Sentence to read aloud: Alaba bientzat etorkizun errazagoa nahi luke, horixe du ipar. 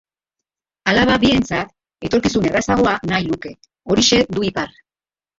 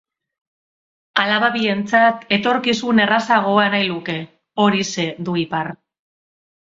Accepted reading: second